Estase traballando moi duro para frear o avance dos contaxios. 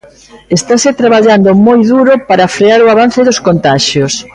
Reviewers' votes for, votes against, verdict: 1, 2, rejected